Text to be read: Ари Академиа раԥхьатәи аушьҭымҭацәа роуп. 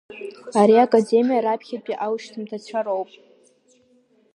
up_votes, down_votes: 2, 0